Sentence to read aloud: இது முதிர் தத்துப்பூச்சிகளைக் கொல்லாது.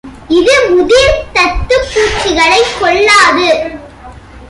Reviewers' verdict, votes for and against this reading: accepted, 2, 0